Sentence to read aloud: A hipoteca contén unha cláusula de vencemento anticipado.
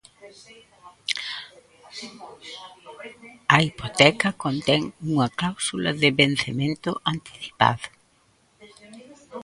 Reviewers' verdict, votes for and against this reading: rejected, 0, 2